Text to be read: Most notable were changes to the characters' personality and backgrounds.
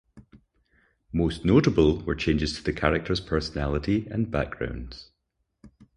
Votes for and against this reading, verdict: 2, 0, accepted